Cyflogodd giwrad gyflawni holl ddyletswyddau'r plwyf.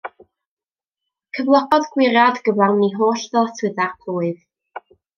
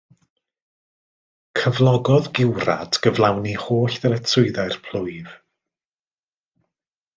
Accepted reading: second